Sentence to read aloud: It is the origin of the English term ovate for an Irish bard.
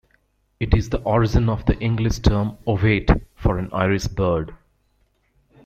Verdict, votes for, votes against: rejected, 1, 2